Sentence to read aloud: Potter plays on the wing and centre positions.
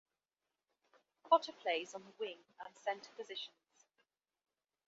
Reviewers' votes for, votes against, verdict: 3, 1, accepted